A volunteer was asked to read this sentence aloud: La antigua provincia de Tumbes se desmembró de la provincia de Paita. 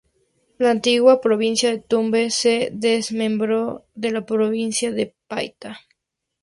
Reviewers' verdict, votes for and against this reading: accepted, 2, 0